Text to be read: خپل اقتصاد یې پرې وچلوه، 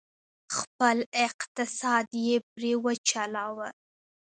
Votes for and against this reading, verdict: 0, 2, rejected